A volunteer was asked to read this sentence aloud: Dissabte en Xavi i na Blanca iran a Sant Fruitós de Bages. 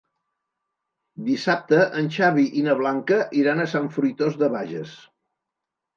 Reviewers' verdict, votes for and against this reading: accepted, 3, 0